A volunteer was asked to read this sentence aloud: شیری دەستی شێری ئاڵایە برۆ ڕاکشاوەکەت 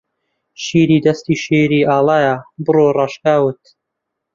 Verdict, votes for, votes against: rejected, 0, 2